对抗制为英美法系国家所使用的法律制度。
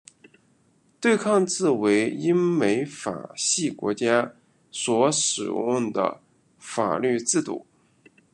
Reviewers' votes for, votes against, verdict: 2, 1, accepted